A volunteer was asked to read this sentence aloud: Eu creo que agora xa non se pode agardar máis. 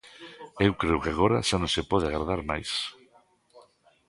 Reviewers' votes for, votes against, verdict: 1, 2, rejected